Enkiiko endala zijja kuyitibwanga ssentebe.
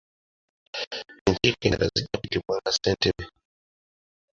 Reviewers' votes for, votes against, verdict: 0, 2, rejected